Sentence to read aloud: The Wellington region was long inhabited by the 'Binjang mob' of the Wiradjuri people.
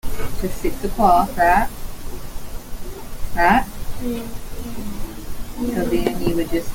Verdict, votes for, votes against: rejected, 0, 2